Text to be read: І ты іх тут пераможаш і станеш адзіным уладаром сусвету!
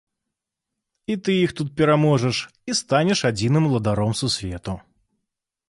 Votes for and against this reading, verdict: 2, 0, accepted